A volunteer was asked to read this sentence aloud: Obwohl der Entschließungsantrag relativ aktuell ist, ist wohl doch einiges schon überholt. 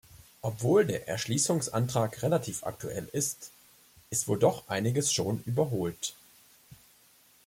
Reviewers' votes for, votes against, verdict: 0, 2, rejected